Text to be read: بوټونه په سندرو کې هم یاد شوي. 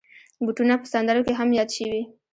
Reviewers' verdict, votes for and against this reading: accepted, 3, 2